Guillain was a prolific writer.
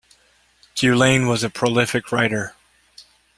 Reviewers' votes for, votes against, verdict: 2, 0, accepted